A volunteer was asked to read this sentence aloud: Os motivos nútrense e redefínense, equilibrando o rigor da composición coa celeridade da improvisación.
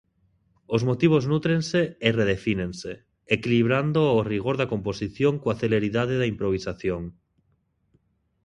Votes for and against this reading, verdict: 2, 0, accepted